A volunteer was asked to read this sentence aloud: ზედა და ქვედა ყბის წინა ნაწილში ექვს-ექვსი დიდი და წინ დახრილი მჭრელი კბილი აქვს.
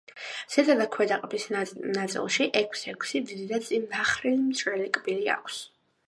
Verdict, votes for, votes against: rejected, 1, 2